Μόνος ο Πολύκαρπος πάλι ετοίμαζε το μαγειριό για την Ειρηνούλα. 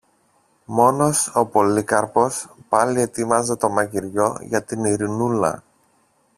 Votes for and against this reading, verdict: 1, 2, rejected